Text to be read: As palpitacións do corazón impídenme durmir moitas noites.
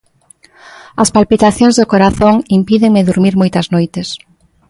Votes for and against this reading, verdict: 2, 0, accepted